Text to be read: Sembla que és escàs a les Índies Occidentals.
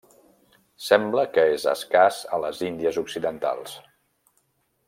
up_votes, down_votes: 3, 0